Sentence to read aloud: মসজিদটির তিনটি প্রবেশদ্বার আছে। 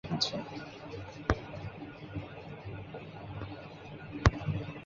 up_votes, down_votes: 0, 2